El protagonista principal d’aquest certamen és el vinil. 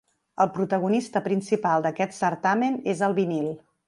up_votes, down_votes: 3, 0